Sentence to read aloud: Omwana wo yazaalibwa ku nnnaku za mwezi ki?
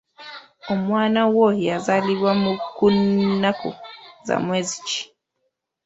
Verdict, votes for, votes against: rejected, 0, 2